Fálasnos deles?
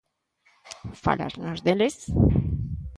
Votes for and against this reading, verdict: 2, 0, accepted